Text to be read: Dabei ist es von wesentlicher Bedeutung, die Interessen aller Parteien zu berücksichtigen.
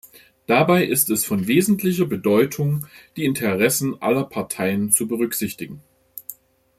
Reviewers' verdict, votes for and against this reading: accepted, 2, 0